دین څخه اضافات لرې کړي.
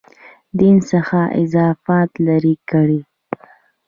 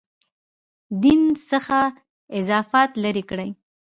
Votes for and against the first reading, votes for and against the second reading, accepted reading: 2, 0, 1, 2, first